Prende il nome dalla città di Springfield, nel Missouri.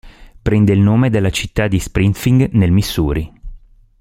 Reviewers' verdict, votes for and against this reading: rejected, 1, 2